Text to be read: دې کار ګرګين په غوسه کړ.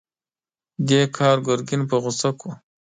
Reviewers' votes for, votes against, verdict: 2, 0, accepted